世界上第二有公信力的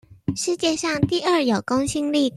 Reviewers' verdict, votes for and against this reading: rejected, 0, 2